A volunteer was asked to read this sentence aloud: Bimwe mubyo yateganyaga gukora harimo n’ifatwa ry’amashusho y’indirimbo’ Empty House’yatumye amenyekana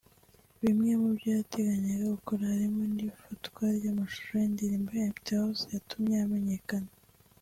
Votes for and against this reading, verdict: 2, 1, accepted